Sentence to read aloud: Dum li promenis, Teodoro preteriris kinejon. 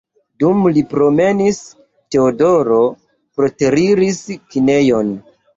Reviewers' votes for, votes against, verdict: 1, 2, rejected